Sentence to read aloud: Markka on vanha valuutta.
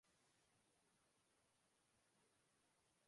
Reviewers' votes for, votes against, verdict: 0, 2, rejected